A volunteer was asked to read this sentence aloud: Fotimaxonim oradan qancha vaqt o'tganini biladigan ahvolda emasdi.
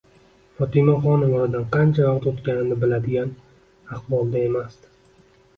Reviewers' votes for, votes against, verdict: 2, 0, accepted